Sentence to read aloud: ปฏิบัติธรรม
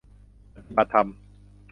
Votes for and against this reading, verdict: 1, 2, rejected